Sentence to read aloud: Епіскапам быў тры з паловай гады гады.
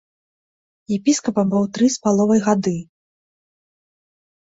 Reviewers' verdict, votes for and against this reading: rejected, 1, 2